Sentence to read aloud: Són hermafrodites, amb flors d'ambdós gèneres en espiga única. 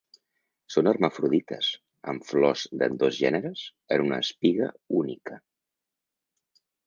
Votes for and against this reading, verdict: 0, 4, rejected